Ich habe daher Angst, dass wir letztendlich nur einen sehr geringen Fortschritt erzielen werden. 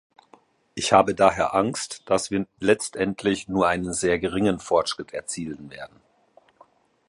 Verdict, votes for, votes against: rejected, 0, 2